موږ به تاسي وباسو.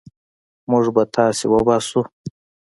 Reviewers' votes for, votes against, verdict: 2, 0, accepted